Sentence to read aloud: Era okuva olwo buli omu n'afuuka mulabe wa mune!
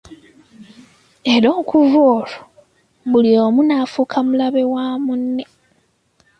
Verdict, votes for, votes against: accepted, 2, 0